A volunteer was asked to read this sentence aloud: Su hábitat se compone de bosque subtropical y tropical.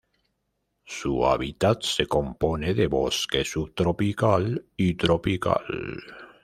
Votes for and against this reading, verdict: 1, 2, rejected